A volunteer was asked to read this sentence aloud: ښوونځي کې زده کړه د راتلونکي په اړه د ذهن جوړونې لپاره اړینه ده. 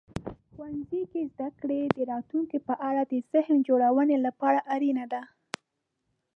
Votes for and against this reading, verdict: 1, 2, rejected